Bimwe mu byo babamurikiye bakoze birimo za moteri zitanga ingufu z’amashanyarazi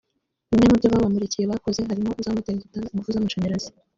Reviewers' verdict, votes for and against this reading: rejected, 1, 2